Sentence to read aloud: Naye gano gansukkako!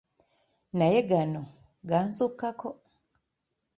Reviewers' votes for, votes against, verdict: 1, 2, rejected